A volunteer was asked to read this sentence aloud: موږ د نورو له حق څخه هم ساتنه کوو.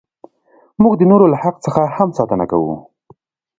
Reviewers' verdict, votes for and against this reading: accepted, 2, 1